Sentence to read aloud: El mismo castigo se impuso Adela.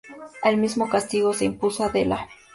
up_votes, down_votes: 2, 0